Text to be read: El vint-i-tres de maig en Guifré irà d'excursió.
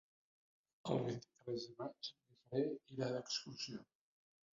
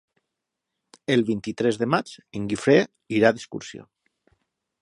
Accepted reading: second